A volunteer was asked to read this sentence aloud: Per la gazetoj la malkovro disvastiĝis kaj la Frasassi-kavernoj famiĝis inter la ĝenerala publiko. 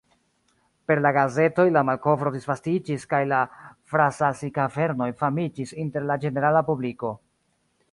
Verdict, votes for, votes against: rejected, 1, 2